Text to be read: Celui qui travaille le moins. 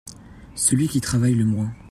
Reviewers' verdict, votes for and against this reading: accepted, 2, 0